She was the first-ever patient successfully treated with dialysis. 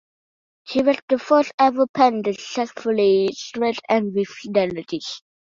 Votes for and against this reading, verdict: 1, 2, rejected